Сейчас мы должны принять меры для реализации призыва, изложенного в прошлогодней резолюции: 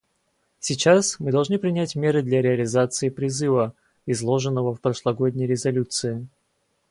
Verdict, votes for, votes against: accepted, 2, 0